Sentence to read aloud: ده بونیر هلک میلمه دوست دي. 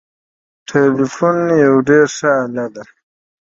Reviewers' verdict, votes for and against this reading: rejected, 0, 2